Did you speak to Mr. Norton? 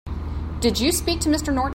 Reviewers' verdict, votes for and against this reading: rejected, 0, 2